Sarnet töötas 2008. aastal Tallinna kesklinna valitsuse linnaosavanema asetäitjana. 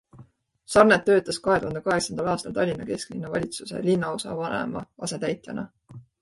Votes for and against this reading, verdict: 0, 2, rejected